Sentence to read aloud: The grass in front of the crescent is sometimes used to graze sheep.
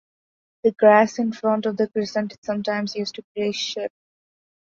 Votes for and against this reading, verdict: 2, 0, accepted